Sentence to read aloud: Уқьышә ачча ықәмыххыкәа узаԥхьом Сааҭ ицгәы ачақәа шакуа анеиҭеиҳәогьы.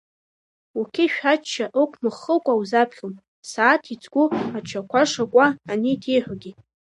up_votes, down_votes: 1, 2